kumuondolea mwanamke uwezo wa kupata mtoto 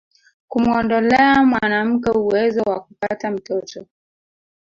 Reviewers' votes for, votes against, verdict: 3, 1, accepted